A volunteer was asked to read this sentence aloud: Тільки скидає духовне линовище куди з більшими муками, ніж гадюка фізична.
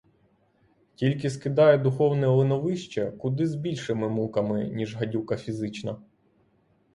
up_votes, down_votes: 3, 0